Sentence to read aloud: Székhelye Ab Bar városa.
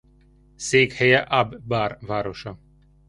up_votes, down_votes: 2, 1